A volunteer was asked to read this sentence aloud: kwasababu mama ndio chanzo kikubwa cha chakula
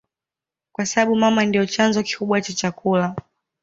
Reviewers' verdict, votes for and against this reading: accepted, 2, 0